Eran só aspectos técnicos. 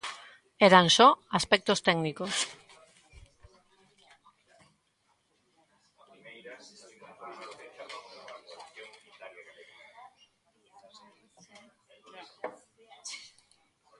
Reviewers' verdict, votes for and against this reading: rejected, 1, 2